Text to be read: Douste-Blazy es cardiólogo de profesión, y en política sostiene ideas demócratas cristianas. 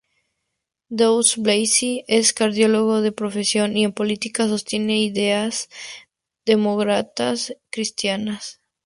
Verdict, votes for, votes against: rejected, 0, 2